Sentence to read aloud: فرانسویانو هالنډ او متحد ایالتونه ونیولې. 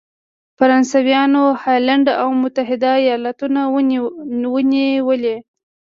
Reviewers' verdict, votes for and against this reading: accepted, 2, 0